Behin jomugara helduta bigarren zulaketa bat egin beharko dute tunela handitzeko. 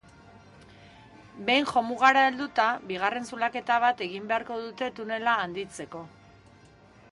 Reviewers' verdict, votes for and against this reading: accepted, 3, 1